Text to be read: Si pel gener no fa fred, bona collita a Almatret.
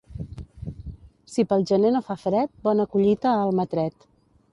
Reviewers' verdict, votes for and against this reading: accepted, 2, 0